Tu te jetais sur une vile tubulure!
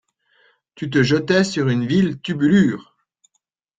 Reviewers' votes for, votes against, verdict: 2, 0, accepted